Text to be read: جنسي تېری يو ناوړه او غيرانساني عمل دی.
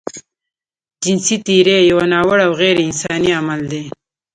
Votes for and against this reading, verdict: 1, 2, rejected